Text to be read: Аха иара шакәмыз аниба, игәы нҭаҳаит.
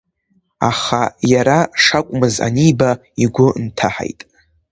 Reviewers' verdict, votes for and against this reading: rejected, 1, 2